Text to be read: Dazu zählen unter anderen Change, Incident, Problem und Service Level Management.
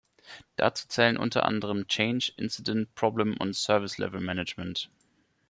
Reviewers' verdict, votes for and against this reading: accepted, 2, 0